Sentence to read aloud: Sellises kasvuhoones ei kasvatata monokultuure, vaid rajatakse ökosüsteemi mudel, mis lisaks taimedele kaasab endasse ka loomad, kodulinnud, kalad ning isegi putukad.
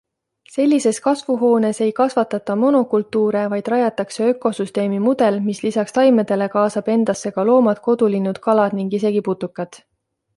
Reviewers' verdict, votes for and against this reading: accepted, 2, 0